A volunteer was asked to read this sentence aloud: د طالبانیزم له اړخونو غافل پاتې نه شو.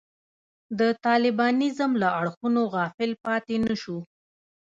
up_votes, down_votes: 2, 0